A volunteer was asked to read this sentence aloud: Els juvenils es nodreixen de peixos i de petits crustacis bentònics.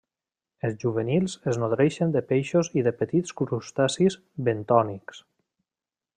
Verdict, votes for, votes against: accepted, 3, 0